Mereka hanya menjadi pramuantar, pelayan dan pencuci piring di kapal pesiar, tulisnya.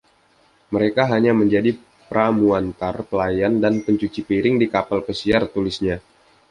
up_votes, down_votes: 2, 0